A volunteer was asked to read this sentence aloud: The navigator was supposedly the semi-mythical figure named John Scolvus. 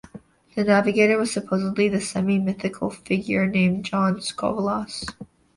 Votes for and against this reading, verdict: 2, 0, accepted